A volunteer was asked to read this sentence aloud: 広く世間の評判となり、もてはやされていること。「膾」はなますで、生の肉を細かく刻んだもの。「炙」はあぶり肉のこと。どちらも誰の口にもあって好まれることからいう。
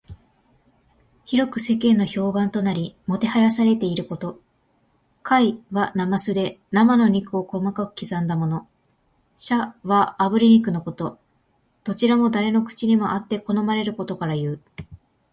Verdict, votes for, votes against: accepted, 2, 1